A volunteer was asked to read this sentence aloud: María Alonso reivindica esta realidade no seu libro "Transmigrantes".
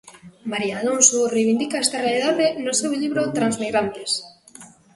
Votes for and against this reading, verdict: 1, 2, rejected